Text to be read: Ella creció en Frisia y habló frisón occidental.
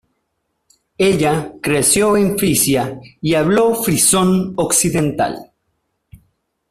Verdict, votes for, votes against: accepted, 2, 0